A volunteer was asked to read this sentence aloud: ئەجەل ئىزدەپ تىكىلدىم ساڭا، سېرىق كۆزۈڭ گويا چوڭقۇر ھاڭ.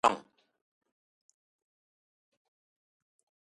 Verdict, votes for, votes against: rejected, 0, 2